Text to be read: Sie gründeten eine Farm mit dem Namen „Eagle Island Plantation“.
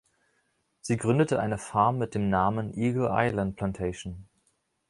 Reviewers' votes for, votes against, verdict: 1, 2, rejected